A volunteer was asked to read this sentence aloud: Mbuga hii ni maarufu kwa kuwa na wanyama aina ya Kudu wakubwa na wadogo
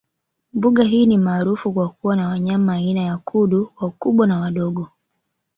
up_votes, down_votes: 1, 2